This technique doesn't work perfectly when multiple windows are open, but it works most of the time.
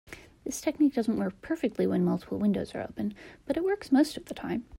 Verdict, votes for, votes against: accepted, 2, 0